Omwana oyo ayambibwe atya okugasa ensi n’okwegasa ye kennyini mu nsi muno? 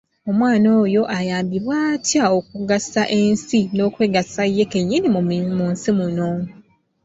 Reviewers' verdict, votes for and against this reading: accepted, 2, 0